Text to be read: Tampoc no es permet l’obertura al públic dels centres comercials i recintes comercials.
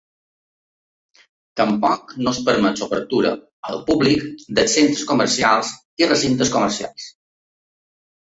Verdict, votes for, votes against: rejected, 1, 2